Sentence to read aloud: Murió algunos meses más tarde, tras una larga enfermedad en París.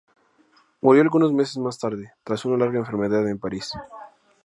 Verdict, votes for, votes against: accepted, 2, 0